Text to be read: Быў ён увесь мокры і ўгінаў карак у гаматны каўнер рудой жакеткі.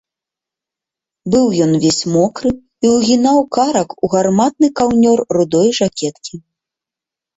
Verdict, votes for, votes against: rejected, 1, 3